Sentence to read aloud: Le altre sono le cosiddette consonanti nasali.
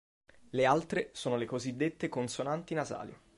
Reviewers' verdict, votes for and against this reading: accepted, 2, 0